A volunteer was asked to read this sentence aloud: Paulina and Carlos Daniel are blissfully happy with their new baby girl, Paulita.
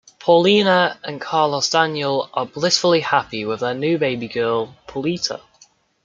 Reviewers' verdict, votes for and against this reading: accepted, 2, 1